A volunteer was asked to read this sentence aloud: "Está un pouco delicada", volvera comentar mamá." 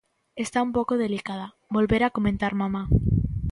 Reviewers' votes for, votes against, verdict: 2, 0, accepted